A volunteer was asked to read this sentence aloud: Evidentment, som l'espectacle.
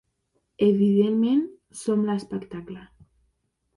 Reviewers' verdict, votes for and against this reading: accepted, 3, 0